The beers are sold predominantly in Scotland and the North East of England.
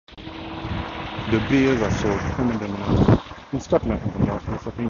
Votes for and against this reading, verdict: 0, 4, rejected